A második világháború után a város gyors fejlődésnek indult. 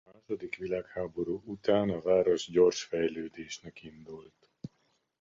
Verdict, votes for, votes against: rejected, 1, 2